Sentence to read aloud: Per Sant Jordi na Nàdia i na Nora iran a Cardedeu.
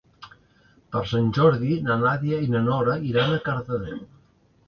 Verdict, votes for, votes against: accepted, 2, 0